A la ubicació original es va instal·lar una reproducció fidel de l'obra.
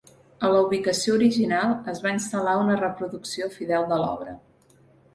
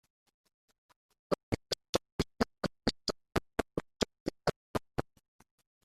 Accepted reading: first